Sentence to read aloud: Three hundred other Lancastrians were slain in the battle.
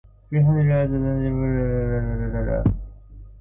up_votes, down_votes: 0, 2